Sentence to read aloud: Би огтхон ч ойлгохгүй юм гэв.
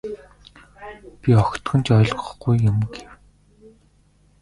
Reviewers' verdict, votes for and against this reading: rejected, 1, 2